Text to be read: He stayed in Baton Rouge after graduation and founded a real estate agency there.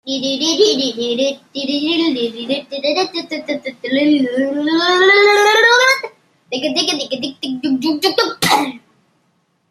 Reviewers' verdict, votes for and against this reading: rejected, 0, 2